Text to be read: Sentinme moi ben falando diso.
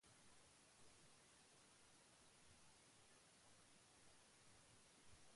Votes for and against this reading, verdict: 0, 2, rejected